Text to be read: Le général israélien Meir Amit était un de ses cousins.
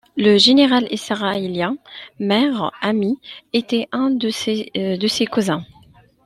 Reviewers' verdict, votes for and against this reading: rejected, 1, 2